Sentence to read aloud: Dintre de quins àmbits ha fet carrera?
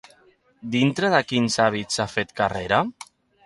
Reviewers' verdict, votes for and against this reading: accepted, 3, 0